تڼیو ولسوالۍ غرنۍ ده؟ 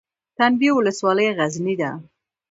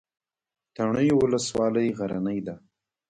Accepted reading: second